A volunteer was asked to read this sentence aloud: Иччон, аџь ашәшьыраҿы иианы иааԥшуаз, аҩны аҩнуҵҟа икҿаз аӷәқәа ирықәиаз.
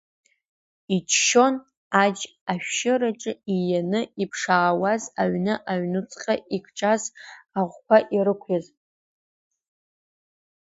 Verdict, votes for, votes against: rejected, 0, 2